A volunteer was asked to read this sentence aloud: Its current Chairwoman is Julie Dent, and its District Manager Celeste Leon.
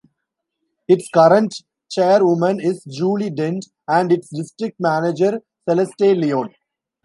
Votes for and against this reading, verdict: 0, 2, rejected